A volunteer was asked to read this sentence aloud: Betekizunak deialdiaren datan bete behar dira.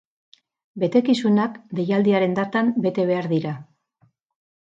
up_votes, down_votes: 0, 2